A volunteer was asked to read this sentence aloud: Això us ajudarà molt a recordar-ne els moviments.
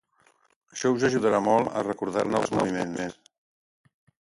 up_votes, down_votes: 0, 2